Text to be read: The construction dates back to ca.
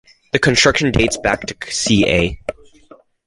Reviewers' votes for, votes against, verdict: 0, 2, rejected